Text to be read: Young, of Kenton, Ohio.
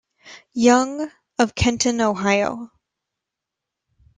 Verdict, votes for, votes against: rejected, 1, 2